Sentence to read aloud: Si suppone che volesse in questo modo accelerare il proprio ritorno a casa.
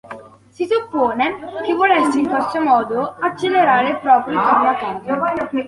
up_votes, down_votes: 0, 2